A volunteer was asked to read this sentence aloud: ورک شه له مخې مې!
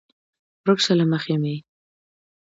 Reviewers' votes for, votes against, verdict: 2, 0, accepted